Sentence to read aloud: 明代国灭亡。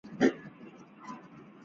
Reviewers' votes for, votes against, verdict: 2, 3, rejected